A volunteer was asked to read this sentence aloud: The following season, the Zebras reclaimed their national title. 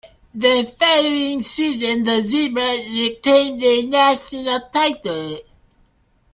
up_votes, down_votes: 0, 2